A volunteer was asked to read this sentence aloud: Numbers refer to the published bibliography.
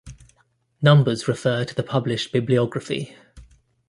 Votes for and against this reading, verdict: 2, 0, accepted